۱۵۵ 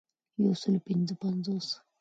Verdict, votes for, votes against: rejected, 0, 2